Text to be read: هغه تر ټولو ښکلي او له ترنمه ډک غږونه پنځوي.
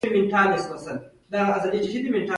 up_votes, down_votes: 1, 2